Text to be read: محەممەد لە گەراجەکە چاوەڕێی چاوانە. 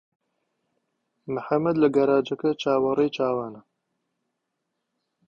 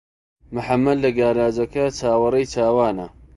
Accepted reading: first